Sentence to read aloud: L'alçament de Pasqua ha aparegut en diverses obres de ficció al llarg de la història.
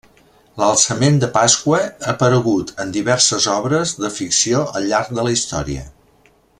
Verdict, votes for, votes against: accepted, 3, 1